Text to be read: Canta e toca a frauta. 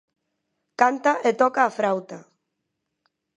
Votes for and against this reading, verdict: 2, 0, accepted